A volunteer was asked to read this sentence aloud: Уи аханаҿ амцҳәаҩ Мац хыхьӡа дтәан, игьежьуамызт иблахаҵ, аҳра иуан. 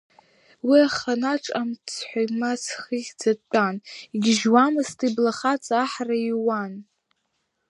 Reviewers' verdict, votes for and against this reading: accepted, 2, 0